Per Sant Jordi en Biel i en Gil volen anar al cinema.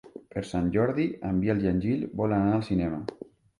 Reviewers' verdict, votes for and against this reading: accepted, 3, 0